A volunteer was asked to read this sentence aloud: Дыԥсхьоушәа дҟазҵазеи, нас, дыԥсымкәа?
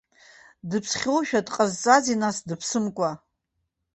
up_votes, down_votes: 2, 0